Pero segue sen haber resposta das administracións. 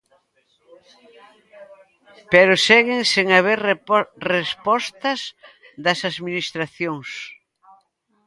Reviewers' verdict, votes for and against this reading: rejected, 0, 4